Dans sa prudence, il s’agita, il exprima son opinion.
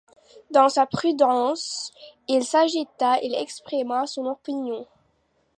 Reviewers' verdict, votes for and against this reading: accepted, 2, 1